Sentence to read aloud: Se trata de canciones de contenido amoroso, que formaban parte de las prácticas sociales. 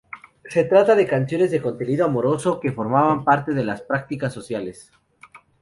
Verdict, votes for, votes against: accepted, 2, 0